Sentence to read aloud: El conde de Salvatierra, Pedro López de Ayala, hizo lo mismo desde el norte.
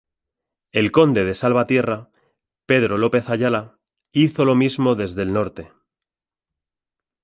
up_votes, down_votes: 2, 0